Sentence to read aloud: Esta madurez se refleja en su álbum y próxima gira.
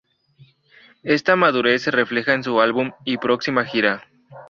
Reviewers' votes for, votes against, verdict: 0, 2, rejected